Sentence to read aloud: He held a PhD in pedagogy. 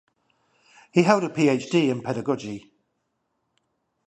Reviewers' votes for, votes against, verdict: 0, 5, rejected